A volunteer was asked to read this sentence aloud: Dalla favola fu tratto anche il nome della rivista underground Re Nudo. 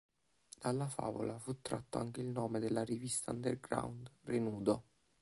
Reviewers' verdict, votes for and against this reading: rejected, 1, 2